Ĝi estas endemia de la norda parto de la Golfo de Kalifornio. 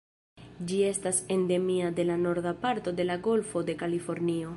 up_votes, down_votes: 1, 2